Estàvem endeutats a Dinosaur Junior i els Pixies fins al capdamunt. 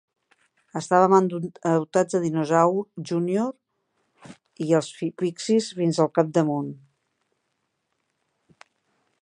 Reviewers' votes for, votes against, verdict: 0, 2, rejected